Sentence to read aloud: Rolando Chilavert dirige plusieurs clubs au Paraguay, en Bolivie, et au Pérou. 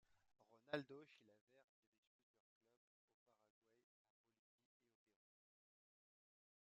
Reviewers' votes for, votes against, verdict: 0, 2, rejected